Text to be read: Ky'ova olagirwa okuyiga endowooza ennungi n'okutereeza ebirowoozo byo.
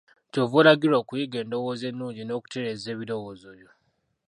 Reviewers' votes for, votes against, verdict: 0, 2, rejected